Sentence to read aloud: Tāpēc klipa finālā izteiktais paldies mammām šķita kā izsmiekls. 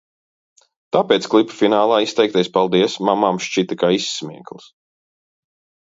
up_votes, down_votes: 2, 0